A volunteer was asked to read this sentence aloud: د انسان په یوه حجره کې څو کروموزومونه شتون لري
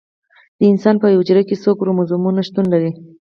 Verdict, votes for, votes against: accepted, 4, 0